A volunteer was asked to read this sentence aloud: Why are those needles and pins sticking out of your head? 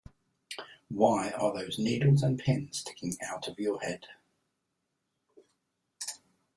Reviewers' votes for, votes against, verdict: 2, 0, accepted